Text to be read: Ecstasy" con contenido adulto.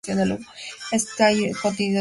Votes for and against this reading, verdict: 2, 0, accepted